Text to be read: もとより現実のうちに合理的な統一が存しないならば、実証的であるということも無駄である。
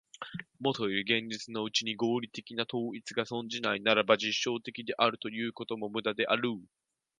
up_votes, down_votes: 0, 2